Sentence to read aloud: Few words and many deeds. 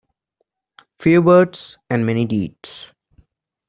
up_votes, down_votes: 2, 0